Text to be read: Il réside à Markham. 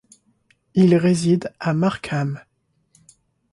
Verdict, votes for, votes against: accepted, 2, 0